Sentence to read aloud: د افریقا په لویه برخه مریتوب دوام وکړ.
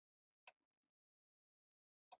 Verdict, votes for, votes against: rejected, 1, 2